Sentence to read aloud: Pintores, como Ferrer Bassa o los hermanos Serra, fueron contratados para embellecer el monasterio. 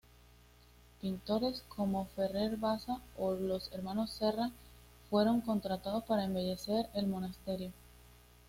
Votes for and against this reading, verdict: 2, 0, accepted